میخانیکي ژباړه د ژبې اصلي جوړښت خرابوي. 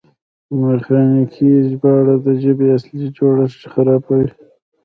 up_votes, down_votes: 0, 2